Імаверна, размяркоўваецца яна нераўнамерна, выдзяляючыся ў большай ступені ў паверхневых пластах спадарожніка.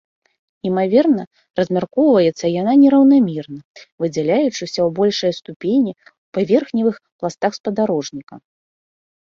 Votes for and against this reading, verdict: 2, 0, accepted